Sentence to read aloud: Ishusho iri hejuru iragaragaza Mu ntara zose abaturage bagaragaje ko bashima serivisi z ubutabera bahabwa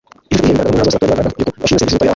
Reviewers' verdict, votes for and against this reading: rejected, 0, 2